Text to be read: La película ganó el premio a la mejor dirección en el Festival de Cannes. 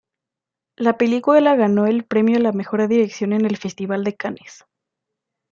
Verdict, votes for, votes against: rejected, 0, 2